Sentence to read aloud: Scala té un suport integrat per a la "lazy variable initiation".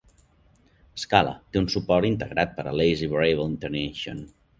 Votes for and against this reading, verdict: 1, 2, rejected